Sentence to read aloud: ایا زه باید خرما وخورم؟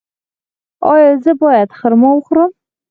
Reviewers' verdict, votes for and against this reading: accepted, 4, 0